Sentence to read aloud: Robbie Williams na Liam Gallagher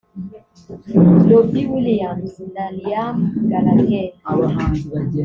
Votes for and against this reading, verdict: 1, 2, rejected